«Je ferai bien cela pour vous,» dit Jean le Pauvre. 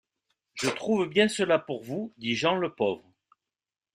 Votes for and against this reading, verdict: 0, 2, rejected